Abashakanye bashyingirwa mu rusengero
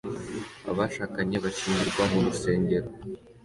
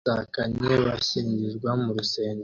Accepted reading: first